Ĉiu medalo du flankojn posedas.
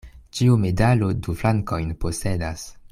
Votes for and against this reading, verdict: 2, 0, accepted